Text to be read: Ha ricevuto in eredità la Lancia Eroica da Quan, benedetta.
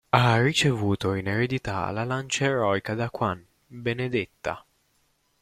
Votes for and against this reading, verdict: 0, 2, rejected